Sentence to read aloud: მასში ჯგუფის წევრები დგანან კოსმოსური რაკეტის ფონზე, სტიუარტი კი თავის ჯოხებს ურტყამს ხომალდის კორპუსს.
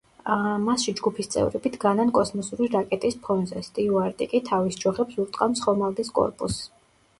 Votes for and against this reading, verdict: 0, 2, rejected